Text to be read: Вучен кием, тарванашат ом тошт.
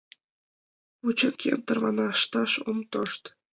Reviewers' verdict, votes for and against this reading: rejected, 0, 2